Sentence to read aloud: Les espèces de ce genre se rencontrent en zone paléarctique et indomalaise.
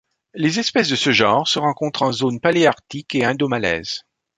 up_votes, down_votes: 2, 0